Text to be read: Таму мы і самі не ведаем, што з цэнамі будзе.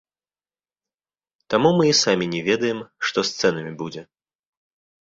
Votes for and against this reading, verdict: 2, 0, accepted